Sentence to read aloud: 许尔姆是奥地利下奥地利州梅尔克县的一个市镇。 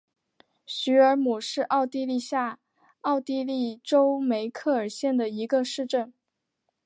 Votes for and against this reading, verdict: 0, 2, rejected